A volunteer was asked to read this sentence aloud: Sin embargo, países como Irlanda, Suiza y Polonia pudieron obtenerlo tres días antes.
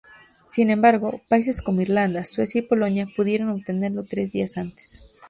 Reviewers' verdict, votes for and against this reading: rejected, 0, 2